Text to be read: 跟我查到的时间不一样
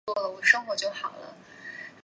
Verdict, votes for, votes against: rejected, 0, 2